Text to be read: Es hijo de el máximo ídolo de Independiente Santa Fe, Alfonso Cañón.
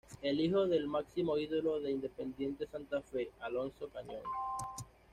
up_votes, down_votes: 1, 2